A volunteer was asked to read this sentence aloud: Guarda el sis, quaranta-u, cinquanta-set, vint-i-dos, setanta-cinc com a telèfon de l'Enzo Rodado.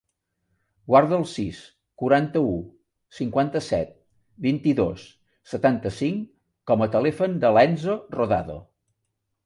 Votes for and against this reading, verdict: 3, 0, accepted